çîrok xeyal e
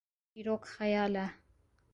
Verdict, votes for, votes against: accepted, 2, 0